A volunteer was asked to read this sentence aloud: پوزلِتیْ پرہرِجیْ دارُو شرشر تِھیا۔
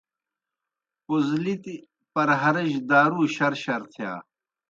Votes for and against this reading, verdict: 2, 0, accepted